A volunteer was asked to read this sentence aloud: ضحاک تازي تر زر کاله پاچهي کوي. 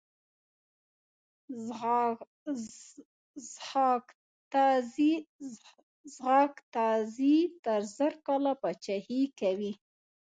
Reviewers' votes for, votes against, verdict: 1, 2, rejected